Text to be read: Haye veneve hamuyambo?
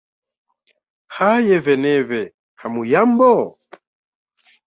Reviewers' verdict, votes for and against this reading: accepted, 2, 0